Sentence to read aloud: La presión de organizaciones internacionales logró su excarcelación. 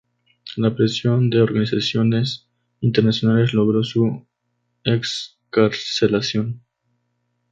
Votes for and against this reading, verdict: 2, 0, accepted